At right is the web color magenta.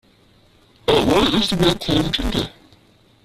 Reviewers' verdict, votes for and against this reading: rejected, 0, 2